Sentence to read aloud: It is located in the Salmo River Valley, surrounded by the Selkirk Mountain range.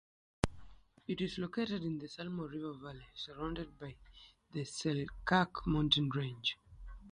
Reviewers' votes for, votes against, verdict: 3, 0, accepted